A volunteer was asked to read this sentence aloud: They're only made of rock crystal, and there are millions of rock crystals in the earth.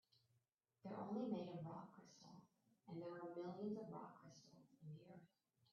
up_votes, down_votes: 1, 2